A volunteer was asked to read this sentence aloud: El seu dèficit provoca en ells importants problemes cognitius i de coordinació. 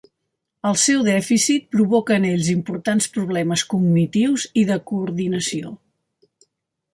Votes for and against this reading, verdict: 2, 0, accepted